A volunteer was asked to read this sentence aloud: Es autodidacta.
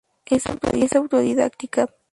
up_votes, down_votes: 0, 4